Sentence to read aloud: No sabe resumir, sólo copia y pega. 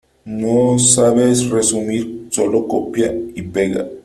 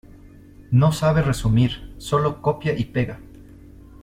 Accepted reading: second